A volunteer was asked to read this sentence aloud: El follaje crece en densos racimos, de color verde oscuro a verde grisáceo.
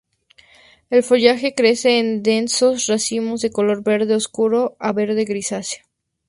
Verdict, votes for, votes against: accepted, 2, 0